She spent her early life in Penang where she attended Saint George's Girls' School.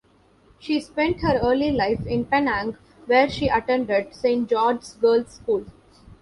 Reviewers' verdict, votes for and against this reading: rejected, 1, 2